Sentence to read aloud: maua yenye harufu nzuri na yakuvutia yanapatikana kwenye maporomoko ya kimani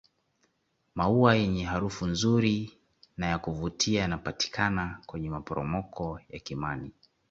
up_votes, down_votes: 2, 0